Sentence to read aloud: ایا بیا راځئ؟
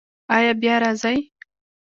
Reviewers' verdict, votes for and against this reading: accepted, 2, 0